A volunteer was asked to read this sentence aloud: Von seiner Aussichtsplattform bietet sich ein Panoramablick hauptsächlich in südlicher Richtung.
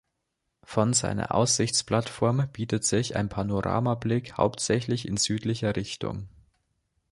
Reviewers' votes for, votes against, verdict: 2, 0, accepted